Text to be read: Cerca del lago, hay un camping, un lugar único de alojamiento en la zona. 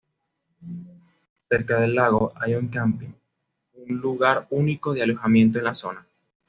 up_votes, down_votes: 2, 0